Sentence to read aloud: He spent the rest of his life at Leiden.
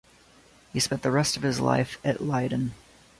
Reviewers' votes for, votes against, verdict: 2, 0, accepted